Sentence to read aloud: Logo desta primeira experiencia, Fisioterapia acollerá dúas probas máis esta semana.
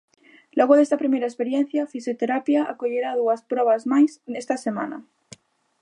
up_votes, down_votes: 1, 2